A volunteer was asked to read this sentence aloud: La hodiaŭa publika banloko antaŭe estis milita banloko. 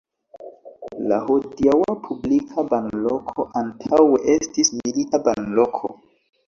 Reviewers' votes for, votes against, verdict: 2, 0, accepted